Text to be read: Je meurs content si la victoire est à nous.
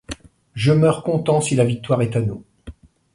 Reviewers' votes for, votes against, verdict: 2, 0, accepted